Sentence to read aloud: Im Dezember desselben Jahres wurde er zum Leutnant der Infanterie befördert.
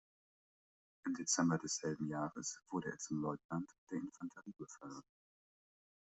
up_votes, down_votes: 2, 0